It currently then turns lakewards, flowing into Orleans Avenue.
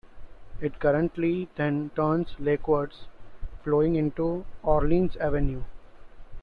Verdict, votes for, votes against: accepted, 2, 0